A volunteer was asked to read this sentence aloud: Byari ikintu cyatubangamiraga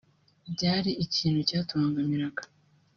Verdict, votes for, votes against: accepted, 2, 0